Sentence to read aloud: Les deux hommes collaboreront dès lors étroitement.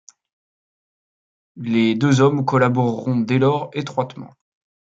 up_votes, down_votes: 2, 0